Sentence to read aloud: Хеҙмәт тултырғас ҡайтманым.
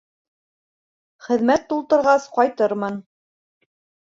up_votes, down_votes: 1, 2